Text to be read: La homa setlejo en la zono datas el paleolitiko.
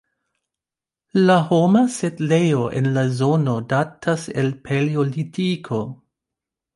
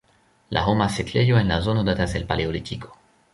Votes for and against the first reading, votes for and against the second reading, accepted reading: 1, 2, 2, 1, second